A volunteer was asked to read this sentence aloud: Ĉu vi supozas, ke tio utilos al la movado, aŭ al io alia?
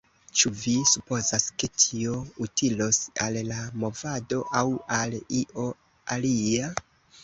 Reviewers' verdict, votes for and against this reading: accepted, 2, 0